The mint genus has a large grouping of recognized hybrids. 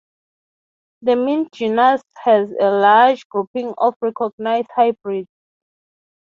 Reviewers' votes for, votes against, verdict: 3, 0, accepted